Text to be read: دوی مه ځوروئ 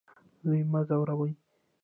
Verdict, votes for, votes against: rejected, 1, 2